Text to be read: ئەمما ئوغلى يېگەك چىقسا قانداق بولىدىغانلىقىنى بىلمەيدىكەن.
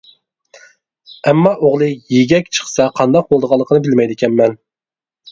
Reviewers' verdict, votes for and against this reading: rejected, 1, 2